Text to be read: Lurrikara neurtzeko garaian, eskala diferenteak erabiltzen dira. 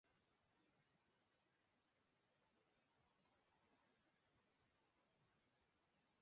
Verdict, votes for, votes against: rejected, 0, 2